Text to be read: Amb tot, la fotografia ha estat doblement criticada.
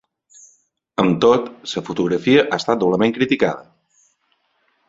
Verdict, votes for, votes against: rejected, 1, 2